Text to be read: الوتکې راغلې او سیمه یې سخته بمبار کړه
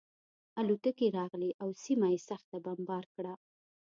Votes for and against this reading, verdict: 0, 2, rejected